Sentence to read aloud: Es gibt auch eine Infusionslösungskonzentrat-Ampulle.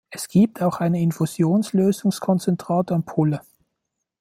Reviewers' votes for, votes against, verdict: 2, 0, accepted